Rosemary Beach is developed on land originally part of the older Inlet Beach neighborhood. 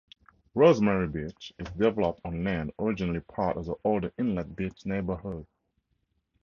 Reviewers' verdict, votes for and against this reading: accepted, 2, 0